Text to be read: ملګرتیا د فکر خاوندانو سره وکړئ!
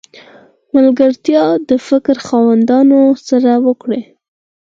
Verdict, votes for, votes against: accepted, 4, 0